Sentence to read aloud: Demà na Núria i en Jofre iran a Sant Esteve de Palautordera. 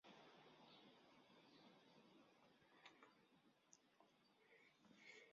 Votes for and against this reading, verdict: 0, 2, rejected